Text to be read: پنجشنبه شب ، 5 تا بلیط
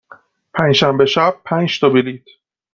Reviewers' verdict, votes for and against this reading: rejected, 0, 2